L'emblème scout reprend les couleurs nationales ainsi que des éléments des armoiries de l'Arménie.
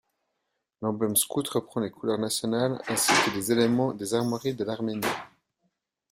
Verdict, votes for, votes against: accepted, 2, 0